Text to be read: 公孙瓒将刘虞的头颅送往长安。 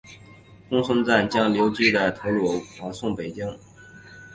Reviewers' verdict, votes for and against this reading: rejected, 0, 2